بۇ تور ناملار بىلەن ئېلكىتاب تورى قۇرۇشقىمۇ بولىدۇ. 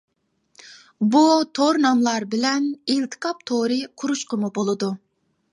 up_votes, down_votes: 0, 2